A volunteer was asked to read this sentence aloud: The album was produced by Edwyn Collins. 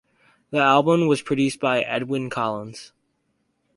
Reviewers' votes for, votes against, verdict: 4, 0, accepted